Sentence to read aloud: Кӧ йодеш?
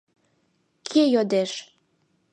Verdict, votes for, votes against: rejected, 0, 2